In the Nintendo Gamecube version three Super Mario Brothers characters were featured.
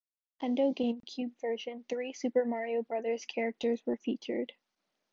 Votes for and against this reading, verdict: 1, 2, rejected